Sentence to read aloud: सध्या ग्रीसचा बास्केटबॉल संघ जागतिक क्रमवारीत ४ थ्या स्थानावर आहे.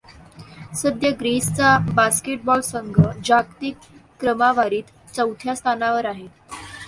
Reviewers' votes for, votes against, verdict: 0, 2, rejected